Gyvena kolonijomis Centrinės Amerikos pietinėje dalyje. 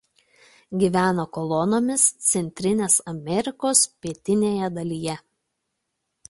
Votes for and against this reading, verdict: 0, 2, rejected